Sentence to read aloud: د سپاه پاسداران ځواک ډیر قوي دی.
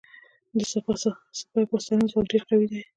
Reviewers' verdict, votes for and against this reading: rejected, 1, 2